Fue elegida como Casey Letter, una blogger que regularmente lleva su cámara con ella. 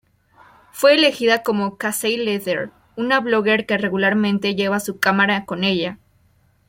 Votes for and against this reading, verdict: 2, 0, accepted